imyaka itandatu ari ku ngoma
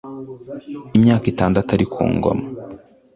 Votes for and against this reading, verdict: 2, 0, accepted